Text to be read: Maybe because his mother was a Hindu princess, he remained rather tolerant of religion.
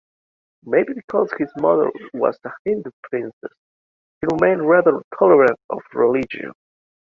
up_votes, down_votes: 2, 0